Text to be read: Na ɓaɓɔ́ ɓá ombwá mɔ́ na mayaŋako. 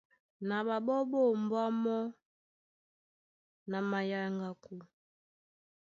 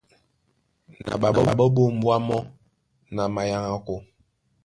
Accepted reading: first